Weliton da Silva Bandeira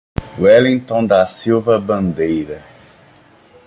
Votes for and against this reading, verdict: 1, 2, rejected